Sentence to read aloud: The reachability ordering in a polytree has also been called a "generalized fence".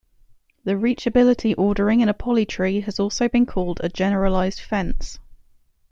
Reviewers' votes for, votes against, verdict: 2, 0, accepted